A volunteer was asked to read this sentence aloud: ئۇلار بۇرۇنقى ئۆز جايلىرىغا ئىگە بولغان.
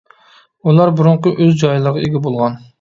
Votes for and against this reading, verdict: 2, 0, accepted